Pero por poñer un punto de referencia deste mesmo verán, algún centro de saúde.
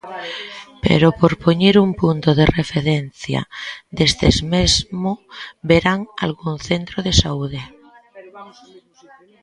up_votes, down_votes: 0, 2